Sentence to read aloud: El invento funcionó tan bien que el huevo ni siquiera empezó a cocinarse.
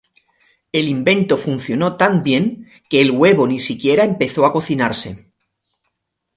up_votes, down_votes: 0, 2